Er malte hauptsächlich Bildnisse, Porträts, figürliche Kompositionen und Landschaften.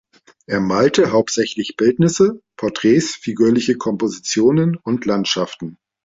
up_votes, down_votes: 2, 0